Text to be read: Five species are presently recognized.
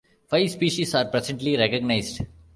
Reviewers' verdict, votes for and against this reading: accepted, 2, 0